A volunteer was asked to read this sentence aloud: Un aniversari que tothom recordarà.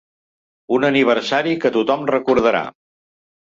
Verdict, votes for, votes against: accepted, 5, 0